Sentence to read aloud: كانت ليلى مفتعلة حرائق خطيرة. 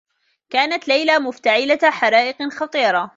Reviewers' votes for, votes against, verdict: 2, 0, accepted